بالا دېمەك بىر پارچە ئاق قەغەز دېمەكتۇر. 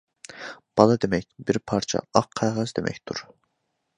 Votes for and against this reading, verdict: 2, 0, accepted